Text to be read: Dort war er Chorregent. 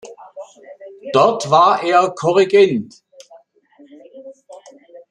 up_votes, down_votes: 2, 0